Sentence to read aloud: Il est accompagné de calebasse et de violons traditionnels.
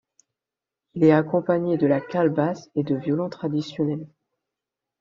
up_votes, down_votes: 1, 2